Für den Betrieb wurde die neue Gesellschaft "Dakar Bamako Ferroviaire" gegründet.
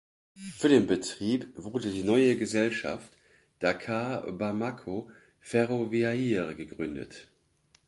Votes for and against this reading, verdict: 3, 0, accepted